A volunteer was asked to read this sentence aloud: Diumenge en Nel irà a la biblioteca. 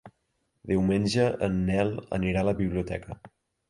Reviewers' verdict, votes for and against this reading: rejected, 0, 2